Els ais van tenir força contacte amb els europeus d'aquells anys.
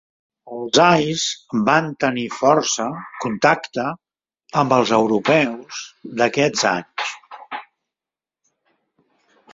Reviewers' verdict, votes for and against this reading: accepted, 2, 0